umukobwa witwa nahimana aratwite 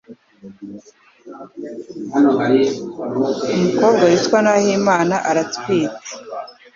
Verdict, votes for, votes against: accepted, 2, 0